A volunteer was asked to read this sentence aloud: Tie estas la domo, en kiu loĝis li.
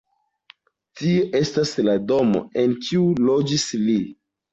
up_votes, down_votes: 2, 0